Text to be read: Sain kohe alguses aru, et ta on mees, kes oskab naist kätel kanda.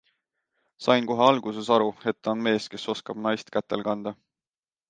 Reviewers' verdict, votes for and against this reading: accepted, 2, 0